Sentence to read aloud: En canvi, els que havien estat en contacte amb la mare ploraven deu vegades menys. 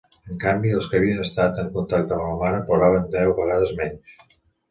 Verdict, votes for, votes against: accepted, 2, 0